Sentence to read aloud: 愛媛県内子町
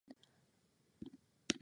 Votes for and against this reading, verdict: 0, 2, rejected